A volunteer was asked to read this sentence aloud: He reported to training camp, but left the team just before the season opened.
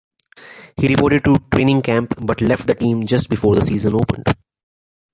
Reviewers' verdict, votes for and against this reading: rejected, 1, 2